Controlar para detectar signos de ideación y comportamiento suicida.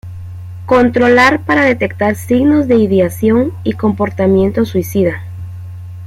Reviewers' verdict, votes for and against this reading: accepted, 2, 0